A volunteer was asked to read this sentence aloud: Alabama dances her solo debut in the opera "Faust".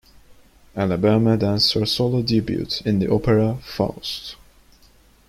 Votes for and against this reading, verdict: 1, 2, rejected